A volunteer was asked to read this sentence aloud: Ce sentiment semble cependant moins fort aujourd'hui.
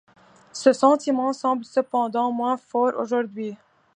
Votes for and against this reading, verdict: 2, 0, accepted